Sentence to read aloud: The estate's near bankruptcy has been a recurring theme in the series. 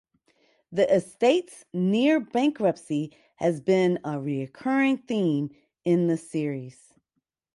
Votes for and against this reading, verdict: 4, 0, accepted